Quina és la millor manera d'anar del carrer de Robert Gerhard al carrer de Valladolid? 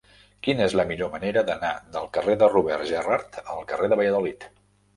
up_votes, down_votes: 1, 2